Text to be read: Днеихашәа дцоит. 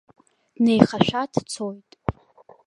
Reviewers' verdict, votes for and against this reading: rejected, 0, 2